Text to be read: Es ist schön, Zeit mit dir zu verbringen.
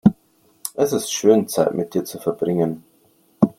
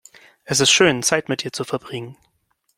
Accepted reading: second